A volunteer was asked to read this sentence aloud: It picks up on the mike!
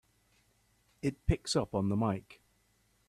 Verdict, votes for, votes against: accepted, 2, 0